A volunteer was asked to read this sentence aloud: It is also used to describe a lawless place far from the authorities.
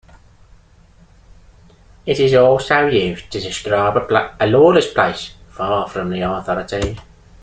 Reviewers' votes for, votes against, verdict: 2, 0, accepted